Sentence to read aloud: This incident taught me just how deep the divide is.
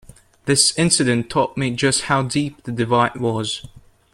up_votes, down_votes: 0, 2